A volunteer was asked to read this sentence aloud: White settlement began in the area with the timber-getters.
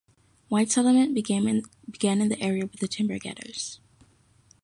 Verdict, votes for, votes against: rejected, 1, 2